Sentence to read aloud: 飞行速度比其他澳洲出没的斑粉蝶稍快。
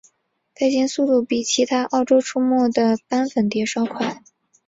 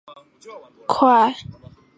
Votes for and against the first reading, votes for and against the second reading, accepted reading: 2, 0, 0, 2, first